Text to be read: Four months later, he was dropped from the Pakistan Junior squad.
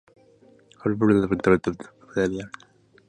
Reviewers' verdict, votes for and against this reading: rejected, 0, 2